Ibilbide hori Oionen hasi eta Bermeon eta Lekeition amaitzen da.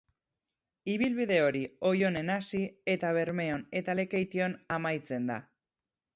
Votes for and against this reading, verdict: 4, 0, accepted